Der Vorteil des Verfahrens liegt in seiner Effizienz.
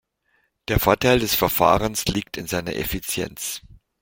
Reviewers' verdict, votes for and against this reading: accepted, 2, 0